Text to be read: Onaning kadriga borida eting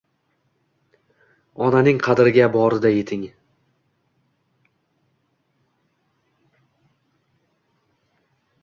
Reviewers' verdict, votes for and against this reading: rejected, 1, 2